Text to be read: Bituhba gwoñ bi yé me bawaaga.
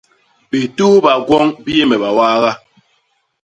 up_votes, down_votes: 2, 0